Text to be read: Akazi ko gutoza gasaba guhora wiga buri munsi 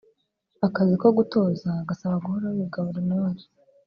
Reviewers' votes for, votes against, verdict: 2, 0, accepted